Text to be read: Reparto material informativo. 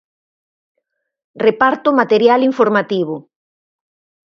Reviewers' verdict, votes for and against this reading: accepted, 4, 0